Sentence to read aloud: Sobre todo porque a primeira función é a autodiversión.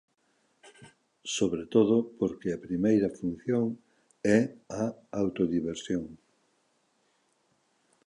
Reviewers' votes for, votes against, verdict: 2, 0, accepted